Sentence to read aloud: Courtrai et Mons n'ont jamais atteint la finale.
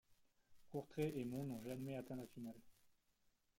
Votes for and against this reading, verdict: 1, 2, rejected